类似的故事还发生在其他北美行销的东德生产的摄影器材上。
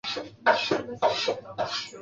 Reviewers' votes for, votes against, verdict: 0, 3, rejected